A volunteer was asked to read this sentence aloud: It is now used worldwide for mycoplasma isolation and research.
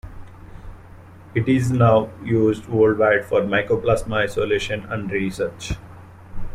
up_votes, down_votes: 2, 1